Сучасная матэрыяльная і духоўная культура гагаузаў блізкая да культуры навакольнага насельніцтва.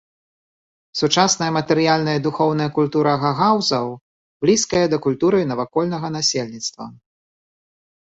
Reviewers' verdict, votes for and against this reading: accepted, 2, 0